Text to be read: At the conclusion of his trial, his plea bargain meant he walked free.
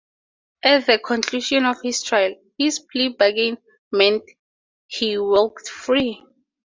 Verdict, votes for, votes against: accepted, 2, 0